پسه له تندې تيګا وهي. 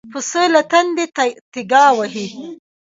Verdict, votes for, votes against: accepted, 2, 1